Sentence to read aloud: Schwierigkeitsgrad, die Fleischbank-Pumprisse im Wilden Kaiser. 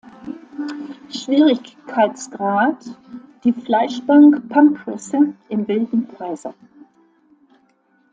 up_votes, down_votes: 1, 2